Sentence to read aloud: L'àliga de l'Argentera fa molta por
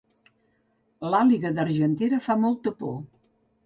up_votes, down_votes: 3, 4